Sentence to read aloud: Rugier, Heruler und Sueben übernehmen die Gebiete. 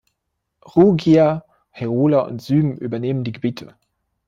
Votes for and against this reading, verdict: 1, 2, rejected